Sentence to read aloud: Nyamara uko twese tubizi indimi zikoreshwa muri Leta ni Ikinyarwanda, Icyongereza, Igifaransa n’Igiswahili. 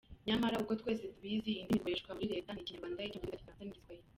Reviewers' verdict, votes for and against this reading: rejected, 1, 2